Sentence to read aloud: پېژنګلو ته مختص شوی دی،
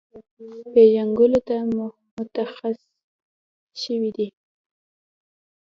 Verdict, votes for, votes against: accepted, 2, 1